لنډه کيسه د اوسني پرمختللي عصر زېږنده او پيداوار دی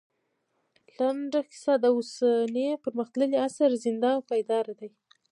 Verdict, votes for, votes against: rejected, 0, 2